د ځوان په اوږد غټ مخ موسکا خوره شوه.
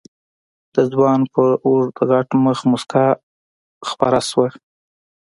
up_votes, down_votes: 0, 2